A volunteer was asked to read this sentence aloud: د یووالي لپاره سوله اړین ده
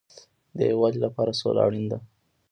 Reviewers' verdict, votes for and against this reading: rejected, 1, 2